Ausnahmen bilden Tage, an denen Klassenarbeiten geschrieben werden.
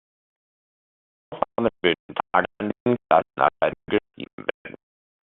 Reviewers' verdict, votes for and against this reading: rejected, 0, 2